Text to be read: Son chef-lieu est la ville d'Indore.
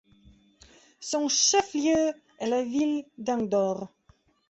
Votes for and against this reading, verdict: 2, 0, accepted